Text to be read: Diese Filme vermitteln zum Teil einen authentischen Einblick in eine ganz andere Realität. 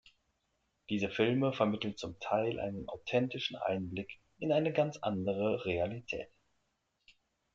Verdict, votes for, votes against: accepted, 2, 0